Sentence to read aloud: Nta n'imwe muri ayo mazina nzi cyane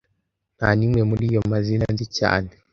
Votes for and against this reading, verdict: 2, 0, accepted